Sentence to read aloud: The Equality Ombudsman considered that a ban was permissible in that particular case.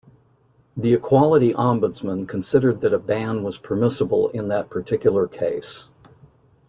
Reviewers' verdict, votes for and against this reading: accepted, 2, 0